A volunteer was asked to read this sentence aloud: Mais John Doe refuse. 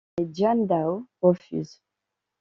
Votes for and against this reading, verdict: 0, 2, rejected